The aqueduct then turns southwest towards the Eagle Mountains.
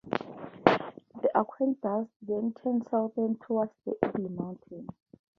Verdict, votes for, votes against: accepted, 2, 0